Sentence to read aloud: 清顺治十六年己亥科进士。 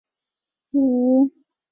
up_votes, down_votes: 2, 2